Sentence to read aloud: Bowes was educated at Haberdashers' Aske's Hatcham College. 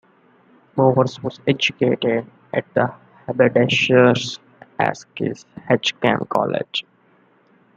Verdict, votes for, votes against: accepted, 2, 0